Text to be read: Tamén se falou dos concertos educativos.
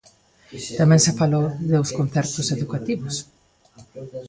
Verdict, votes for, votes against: rejected, 1, 2